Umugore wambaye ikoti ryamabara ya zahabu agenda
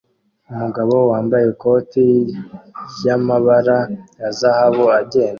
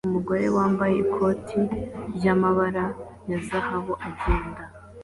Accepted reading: second